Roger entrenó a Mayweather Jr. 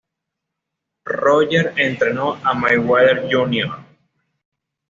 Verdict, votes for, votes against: accepted, 2, 0